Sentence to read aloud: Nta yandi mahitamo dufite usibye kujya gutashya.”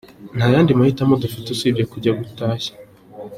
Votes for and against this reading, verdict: 2, 0, accepted